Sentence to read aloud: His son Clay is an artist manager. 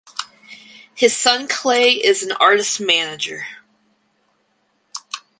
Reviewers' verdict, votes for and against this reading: accepted, 4, 0